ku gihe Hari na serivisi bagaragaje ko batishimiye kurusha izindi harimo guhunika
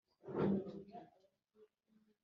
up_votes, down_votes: 1, 2